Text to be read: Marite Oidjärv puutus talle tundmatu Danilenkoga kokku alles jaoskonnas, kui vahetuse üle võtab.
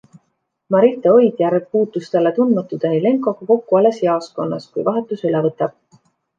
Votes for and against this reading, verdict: 2, 0, accepted